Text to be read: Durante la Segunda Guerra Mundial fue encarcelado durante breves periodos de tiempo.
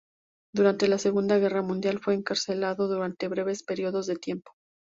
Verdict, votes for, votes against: accepted, 2, 0